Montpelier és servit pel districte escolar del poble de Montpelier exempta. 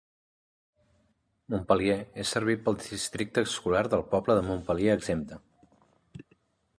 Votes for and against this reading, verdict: 6, 8, rejected